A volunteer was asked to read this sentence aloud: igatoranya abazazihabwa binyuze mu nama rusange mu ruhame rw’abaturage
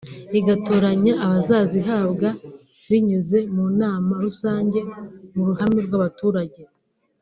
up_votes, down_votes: 2, 1